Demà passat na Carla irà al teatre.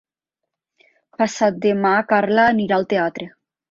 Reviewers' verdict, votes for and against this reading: rejected, 1, 2